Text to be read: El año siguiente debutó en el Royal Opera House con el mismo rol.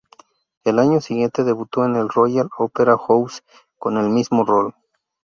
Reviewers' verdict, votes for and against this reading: rejected, 0, 2